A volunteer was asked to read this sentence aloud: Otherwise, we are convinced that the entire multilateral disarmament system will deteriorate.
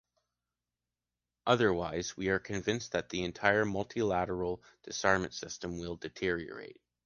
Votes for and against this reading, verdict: 1, 2, rejected